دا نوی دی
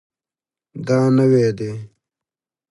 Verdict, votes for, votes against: accepted, 2, 0